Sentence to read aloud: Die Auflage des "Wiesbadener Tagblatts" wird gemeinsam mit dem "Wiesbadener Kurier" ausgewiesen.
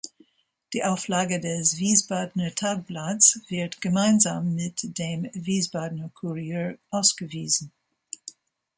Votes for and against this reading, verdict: 2, 0, accepted